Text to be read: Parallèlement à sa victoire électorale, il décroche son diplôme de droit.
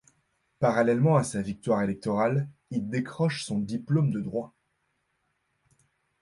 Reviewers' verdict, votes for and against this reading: accepted, 2, 0